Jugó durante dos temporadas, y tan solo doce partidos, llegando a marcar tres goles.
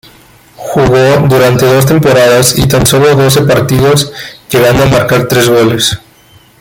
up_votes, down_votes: 2, 3